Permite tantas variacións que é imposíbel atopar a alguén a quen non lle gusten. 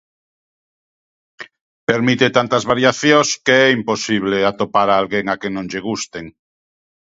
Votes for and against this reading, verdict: 1, 2, rejected